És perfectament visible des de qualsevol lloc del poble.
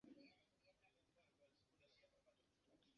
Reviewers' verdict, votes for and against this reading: rejected, 0, 2